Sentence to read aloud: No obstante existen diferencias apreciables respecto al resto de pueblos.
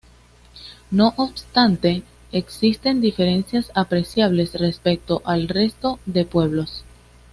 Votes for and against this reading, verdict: 2, 0, accepted